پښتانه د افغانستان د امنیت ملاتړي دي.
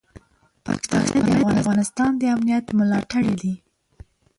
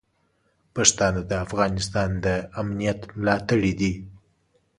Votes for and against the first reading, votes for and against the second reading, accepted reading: 1, 6, 2, 0, second